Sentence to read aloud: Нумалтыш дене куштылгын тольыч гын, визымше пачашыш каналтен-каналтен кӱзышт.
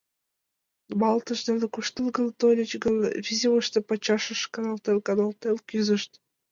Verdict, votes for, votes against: rejected, 0, 2